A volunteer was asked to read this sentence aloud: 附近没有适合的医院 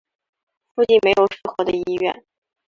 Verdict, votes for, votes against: accepted, 3, 0